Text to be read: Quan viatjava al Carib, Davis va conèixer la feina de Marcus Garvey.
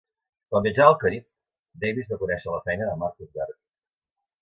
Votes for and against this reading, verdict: 2, 0, accepted